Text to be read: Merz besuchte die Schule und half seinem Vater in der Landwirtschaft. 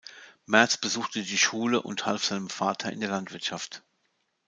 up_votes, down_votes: 2, 0